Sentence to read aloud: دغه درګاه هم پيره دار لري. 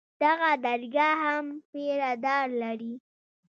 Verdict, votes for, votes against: accepted, 2, 0